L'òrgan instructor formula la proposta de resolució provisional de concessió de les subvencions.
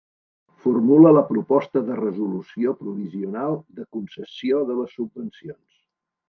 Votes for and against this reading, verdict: 0, 2, rejected